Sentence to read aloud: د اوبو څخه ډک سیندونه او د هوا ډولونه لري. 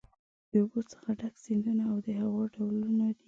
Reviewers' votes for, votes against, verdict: 0, 2, rejected